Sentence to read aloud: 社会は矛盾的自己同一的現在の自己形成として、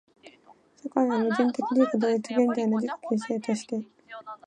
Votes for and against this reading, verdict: 0, 3, rejected